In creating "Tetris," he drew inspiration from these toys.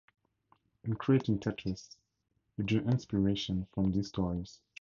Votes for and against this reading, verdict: 2, 2, rejected